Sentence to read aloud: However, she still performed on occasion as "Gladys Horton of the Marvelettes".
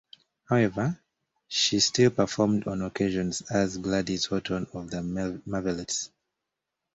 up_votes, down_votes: 0, 2